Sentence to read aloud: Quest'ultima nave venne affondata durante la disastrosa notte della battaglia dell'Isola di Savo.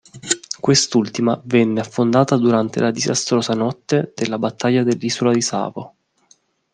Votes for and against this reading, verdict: 1, 2, rejected